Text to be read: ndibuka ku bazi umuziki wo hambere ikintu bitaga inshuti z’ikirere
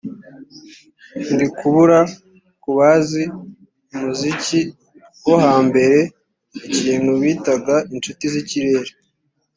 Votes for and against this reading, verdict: 1, 2, rejected